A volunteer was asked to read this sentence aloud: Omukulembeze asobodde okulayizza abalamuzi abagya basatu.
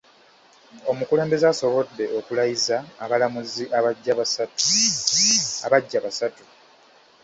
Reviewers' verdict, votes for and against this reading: rejected, 0, 2